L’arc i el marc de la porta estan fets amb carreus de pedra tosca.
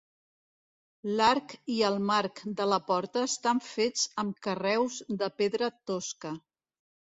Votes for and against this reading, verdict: 2, 0, accepted